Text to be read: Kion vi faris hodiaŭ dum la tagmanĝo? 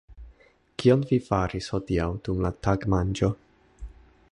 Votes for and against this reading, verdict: 0, 2, rejected